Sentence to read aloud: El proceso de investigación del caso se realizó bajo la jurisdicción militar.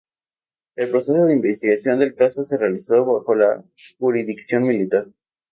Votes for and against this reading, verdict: 2, 2, rejected